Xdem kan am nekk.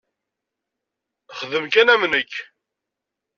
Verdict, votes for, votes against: accepted, 2, 0